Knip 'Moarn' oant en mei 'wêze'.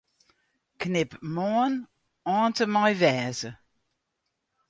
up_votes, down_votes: 2, 0